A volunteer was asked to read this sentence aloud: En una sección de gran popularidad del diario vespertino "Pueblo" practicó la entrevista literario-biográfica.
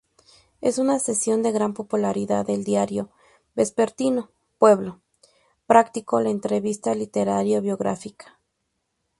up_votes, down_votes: 0, 2